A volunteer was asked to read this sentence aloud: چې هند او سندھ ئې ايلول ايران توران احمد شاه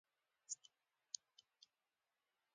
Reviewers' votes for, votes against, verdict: 1, 2, rejected